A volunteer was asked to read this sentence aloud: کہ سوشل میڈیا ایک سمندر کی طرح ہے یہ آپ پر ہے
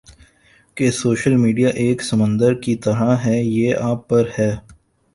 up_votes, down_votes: 1, 2